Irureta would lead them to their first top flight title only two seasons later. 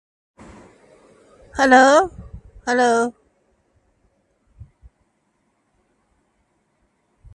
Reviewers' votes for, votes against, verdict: 0, 2, rejected